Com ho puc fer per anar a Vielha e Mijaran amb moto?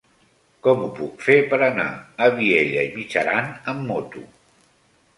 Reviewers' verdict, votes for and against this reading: accepted, 2, 0